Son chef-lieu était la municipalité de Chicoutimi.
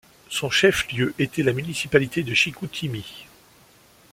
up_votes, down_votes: 2, 0